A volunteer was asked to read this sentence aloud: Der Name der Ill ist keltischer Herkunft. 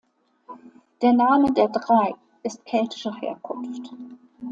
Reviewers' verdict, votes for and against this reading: rejected, 0, 2